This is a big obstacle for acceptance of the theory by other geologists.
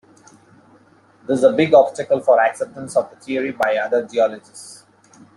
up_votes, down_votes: 1, 2